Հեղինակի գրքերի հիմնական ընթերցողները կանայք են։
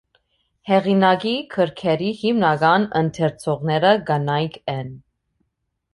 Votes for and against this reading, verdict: 2, 0, accepted